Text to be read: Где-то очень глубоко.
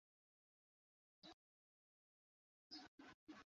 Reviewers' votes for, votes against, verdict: 0, 2, rejected